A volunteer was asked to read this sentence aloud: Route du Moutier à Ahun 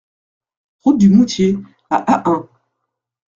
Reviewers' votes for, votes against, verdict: 2, 0, accepted